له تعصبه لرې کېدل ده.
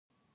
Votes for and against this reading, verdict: 0, 2, rejected